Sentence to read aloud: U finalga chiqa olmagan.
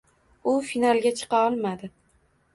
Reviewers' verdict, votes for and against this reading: rejected, 1, 2